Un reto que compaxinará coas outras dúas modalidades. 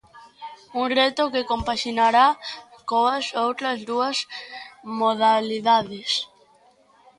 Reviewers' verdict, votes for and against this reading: rejected, 1, 2